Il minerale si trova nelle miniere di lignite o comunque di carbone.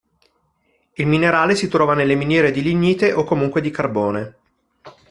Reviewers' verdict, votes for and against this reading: accepted, 2, 0